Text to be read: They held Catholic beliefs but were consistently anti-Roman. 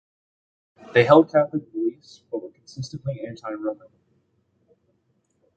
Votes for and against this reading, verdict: 2, 1, accepted